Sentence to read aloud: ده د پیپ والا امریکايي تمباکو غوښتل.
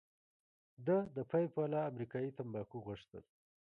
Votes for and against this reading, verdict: 2, 0, accepted